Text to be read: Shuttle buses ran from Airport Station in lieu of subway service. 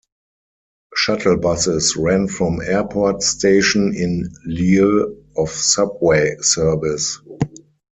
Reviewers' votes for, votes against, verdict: 4, 0, accepted